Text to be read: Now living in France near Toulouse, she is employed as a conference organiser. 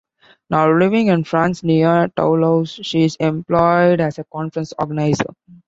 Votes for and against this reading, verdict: 2, 0, accepted